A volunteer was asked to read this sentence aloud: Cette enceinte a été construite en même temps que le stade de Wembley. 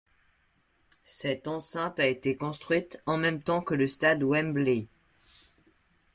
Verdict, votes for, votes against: rejected, 1, 2